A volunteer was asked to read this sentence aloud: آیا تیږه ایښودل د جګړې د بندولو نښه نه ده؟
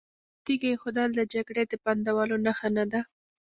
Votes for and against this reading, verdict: 2, 0, accepted